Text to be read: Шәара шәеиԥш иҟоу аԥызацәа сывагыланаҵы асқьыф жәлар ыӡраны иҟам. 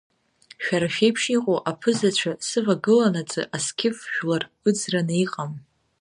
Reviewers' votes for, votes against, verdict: 2, 0, accepted